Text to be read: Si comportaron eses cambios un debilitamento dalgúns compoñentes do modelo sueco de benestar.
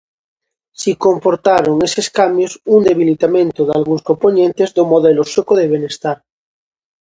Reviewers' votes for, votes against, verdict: 2, 0, accepted